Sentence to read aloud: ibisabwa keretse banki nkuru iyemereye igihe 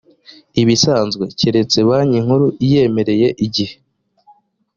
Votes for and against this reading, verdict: 1, 2, rejected